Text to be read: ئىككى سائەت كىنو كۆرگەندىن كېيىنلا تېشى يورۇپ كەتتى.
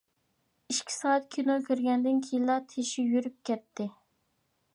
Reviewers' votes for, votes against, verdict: 0, 2, rejected